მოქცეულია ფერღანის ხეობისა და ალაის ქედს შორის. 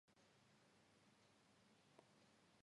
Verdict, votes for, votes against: rejected, 0, 2